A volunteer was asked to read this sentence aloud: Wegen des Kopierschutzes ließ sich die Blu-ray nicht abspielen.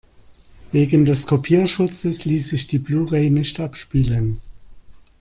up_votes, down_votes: 2, 1